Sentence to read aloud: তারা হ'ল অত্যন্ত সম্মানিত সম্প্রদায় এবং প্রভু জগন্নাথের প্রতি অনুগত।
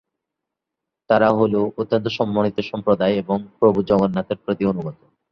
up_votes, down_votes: 3, 0